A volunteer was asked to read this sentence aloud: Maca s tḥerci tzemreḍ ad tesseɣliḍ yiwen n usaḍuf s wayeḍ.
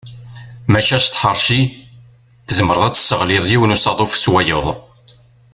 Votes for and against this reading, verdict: 2, 0, accepted